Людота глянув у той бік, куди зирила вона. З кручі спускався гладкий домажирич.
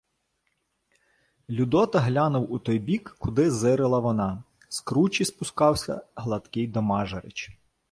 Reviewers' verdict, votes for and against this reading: accepted, 2, 0